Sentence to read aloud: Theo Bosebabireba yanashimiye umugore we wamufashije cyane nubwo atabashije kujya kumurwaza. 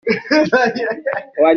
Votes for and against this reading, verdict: 0, 2, rejected